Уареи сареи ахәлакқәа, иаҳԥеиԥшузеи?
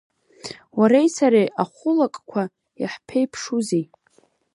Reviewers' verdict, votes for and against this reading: rejected, 0, 2